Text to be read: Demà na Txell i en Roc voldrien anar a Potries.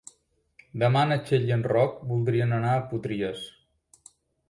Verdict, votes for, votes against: accepted, 3, 0